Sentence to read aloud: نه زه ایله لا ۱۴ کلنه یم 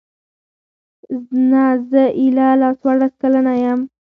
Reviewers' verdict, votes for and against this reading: rejected, 0, 2